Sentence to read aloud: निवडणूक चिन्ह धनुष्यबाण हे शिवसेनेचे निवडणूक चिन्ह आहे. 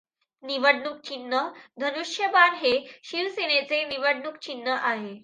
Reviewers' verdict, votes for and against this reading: accepted, 2, 1